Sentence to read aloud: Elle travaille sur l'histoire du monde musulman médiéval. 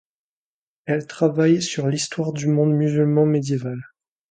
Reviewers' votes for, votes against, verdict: 2, 0, accepted